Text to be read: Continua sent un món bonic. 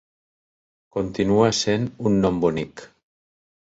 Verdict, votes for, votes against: rejected, 0, 2